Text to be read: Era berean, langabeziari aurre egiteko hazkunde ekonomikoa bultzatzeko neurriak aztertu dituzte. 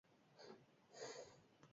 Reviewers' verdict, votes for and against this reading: rejected, 0, 2